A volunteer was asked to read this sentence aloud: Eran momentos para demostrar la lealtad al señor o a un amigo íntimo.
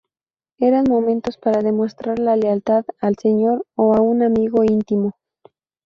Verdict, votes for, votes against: accepted, 2, 0